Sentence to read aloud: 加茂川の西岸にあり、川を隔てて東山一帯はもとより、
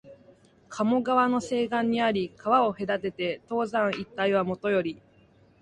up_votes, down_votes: 0, 2